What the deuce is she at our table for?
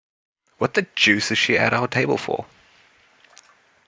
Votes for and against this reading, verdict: 0, 2, rejected